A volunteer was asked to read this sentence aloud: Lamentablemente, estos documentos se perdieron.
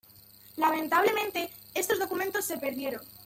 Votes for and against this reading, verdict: 2, 0, accepted